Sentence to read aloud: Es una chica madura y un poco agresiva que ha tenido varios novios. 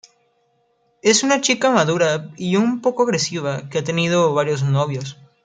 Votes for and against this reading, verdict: 2, 0, accepted